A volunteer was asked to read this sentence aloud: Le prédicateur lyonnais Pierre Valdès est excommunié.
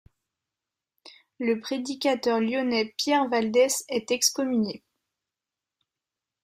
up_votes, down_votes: 2, 0